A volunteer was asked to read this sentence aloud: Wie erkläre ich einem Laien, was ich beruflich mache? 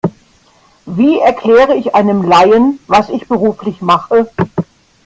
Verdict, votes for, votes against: rejected, 0, 2